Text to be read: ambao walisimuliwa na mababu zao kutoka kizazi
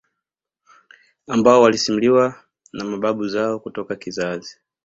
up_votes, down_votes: 2, 0